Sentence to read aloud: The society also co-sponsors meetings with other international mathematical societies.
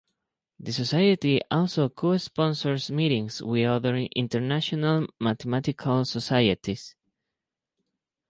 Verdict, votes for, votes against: rejected, 0, 2